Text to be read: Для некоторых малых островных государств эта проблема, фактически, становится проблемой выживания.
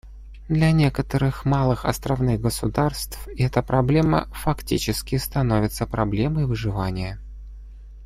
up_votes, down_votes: 2, 0